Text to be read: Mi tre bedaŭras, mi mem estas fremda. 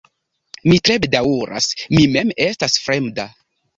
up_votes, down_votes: 2, 0